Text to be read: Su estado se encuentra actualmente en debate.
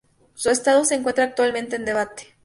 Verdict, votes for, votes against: accepted, 2, 0